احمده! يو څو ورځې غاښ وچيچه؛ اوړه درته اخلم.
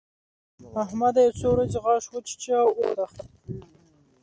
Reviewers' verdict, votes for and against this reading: rejected, 1, 2